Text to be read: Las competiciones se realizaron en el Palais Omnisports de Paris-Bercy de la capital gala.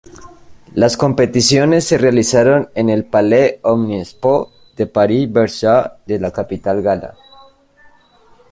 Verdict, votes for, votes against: rejected, 0, 2